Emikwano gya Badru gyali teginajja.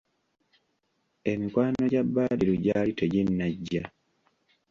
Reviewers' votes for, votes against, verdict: 2, 0, accepted